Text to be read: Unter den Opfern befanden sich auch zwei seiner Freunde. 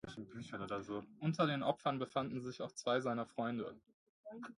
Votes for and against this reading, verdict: 0, 2, rejected